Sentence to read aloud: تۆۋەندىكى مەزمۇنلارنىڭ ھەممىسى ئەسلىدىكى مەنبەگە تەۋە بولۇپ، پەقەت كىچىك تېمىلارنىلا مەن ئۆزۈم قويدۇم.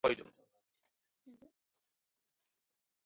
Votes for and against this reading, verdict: 0, 2, rejected